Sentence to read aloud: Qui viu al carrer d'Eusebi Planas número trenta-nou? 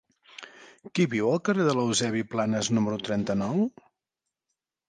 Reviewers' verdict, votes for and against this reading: rejected, 0, 3